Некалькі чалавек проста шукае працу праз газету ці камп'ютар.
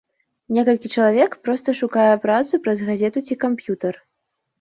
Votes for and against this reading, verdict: 2, 0, accepted